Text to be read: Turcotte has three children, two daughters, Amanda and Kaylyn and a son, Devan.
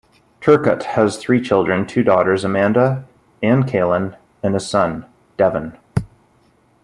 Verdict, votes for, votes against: accepted, 2, 0